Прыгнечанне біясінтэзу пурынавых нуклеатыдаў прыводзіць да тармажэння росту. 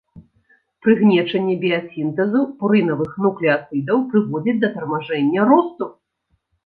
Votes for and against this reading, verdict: 2, 0, accepted